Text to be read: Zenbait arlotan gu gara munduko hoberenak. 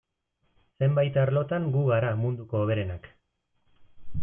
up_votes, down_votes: 2, 0